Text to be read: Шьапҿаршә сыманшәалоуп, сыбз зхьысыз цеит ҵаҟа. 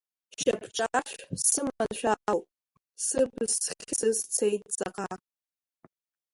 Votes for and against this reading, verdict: 1, 2, rejected